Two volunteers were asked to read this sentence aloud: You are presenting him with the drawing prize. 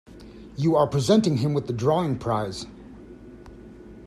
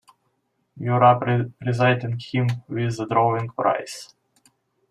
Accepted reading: first